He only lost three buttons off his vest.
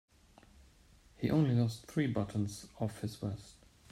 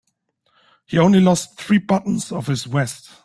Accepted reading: second